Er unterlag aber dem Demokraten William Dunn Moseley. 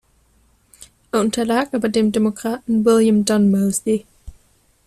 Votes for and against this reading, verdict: 2, 3, rejected